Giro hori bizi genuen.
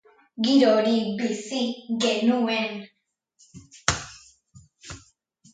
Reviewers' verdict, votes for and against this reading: accepted, 2, 0